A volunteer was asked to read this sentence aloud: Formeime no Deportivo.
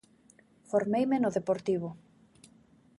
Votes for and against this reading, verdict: 2, 0, accepted